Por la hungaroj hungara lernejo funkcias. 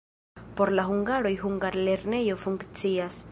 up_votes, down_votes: 2, 1